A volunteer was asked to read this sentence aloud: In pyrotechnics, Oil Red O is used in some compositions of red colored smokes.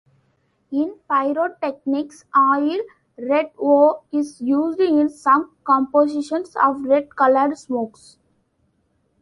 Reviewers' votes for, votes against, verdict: 2, 0, accepted